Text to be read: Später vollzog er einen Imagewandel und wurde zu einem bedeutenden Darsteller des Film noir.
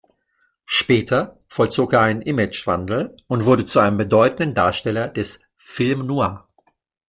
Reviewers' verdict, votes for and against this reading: accepted, 2, 0